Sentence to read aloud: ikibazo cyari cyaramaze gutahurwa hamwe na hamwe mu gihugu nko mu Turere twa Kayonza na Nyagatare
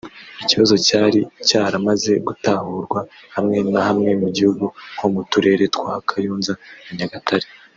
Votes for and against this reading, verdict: 1, 2, rejected